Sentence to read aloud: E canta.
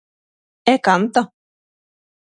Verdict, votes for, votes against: accepted, 6, 0